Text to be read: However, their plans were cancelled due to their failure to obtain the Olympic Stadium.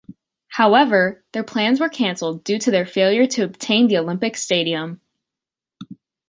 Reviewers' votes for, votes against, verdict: 3, 2, accepted